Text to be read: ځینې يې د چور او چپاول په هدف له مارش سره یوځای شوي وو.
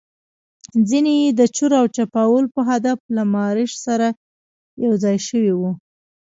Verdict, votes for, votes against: rejected, 1, 2